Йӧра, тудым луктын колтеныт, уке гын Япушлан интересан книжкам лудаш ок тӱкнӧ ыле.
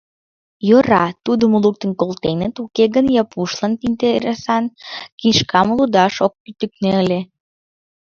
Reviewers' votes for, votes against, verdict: 0, 2, rejected